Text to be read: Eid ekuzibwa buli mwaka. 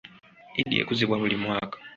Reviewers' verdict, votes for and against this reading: accepted, 2, 0